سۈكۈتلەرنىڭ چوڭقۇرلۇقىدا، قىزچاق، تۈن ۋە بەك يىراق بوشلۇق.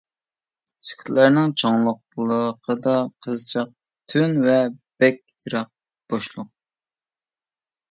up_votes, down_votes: 1, 2